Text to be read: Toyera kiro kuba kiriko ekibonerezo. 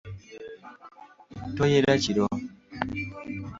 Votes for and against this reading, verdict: 0, 2, rejected